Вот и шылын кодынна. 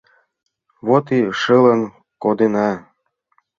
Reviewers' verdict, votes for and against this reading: rejected, 0, 2